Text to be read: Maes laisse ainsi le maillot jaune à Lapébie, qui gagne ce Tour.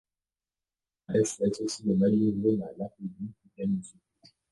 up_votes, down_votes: 0, 2